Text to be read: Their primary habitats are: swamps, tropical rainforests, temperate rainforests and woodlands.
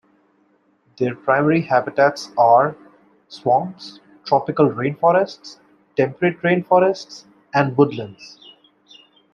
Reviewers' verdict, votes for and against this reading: accepted, 2, 0